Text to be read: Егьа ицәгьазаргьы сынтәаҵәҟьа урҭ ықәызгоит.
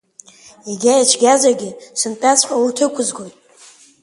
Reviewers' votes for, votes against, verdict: 3, 0, accepted